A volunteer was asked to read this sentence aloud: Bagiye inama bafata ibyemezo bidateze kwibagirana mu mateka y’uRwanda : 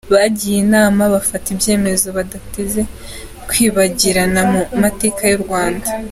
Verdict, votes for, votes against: rejected, 1, 2